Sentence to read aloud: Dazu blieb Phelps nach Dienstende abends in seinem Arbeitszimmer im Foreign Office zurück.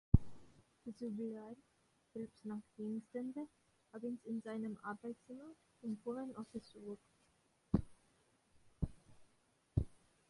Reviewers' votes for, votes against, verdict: 0, 2, rejected